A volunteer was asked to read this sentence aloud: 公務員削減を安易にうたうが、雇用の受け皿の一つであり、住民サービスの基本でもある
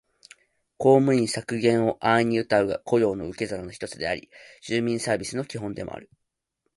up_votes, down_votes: 2, 0